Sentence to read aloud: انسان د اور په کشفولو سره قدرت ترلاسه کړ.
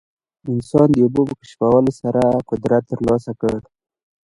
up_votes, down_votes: 1, 2